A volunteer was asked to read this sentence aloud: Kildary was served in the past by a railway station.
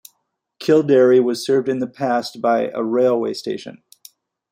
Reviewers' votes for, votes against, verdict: 2, 1, accepted